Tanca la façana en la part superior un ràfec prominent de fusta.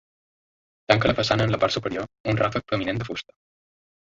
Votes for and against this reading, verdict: 1, 2, rejected